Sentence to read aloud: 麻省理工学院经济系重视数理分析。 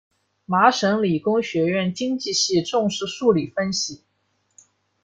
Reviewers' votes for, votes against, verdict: 2, 0, accepted